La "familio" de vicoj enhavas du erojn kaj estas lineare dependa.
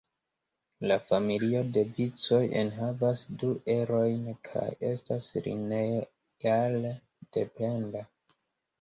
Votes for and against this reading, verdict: 2, 1, accepted